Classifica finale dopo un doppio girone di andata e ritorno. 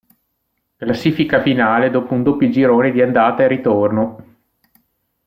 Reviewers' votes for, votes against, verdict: 2, 0, accepted